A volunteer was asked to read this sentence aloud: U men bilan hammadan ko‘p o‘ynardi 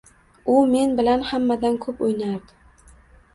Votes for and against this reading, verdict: 1, 2, rejected